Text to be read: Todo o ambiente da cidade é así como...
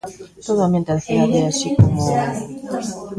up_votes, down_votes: 0, 2